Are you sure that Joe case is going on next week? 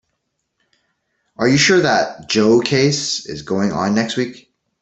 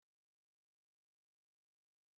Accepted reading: first